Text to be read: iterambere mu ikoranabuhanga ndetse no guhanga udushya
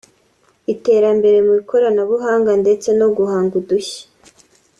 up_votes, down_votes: 2, 0